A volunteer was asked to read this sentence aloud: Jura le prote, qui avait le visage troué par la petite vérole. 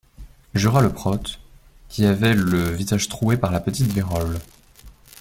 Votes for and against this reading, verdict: 1, 2, rejected